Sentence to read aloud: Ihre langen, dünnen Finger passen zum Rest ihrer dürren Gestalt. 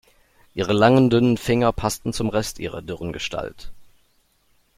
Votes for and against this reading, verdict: 2, 0, accepted